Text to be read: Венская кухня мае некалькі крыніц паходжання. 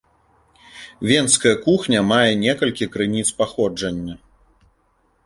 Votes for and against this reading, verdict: 2, 0, accepted